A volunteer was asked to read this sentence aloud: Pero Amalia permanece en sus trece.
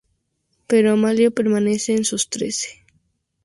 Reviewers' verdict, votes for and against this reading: accepted, 2, 0